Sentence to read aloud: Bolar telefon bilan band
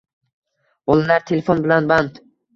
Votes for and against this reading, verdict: 2, 1, accepted